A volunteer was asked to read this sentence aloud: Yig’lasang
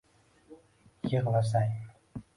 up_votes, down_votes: 0, 2